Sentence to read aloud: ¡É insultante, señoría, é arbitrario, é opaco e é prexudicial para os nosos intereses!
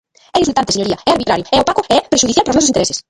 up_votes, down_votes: 0, 2